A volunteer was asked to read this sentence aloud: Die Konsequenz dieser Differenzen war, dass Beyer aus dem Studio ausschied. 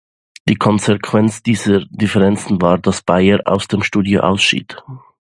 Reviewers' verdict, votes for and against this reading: accepted, 2, 0